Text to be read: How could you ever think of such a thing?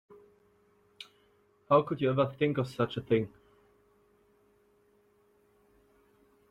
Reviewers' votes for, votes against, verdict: 0, 2, rejected